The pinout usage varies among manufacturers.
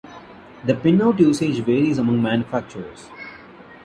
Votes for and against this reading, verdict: 2, 0, accepted